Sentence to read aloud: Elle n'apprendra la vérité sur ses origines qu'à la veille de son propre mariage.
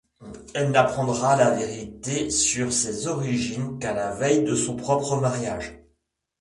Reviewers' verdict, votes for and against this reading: accepted, 2, 1